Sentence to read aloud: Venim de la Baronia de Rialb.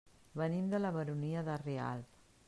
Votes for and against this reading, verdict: 2, 0, accepted